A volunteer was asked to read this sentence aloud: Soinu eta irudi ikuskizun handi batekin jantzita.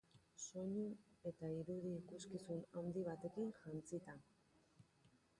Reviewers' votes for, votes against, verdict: 2, 2, rejected